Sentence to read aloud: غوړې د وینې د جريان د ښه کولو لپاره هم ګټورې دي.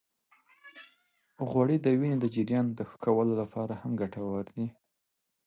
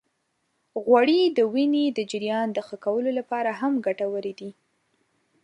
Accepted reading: second